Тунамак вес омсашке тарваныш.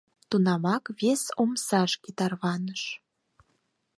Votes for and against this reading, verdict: 4, 0, accepted